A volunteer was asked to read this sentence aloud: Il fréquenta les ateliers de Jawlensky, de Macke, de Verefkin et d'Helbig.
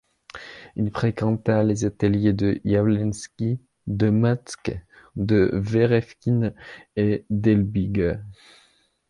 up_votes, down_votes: 2, 1